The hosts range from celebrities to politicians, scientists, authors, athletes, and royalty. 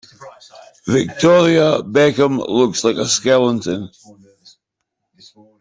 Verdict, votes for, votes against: rejected, 0, 2